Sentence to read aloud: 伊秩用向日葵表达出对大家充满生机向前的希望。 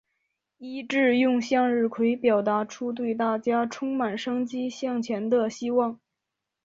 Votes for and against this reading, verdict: 4, 0, accepted